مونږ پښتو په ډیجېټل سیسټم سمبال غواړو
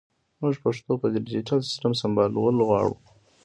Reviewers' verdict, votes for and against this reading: accepted, 2, 0